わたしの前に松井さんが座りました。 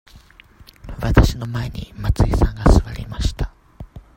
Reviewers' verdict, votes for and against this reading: rejected, 0, 2